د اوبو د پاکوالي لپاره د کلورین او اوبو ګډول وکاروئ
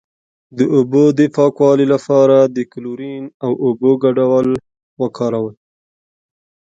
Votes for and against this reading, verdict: 0, 2, rejected